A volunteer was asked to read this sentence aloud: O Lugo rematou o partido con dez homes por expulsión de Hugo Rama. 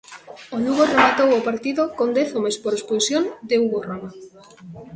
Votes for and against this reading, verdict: 2, 0, accepted